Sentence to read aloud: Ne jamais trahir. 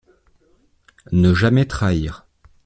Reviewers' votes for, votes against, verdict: 2, 0, accepted